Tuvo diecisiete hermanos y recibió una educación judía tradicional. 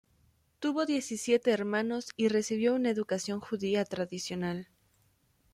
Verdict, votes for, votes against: accepted, 2, 0